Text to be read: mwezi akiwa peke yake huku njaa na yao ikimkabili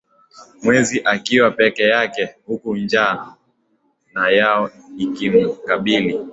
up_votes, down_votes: 2, 0